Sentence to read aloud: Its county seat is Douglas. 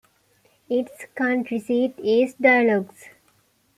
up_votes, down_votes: 0, 2